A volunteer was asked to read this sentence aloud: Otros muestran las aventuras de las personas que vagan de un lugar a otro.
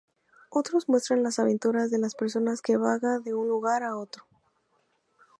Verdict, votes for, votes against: accepted, 4, 0